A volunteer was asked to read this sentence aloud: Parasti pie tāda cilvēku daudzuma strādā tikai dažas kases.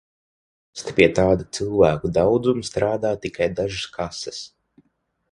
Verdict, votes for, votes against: rejected, 0, 6